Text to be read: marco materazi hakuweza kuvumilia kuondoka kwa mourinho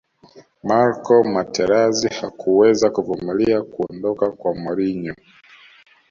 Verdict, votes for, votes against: accepted, 2, 0